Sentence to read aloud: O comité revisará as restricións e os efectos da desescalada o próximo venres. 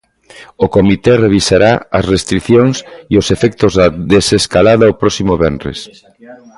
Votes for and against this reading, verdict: 1, 2, rejected